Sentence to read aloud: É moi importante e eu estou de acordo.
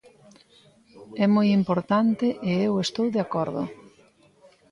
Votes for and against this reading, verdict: 2, 0, accepted